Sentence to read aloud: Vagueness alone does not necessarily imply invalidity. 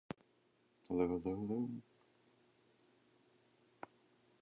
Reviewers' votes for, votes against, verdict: 0, 2, rejected